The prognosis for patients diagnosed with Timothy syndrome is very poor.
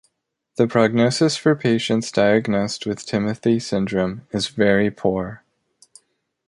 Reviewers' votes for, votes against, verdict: 2, 0, accepted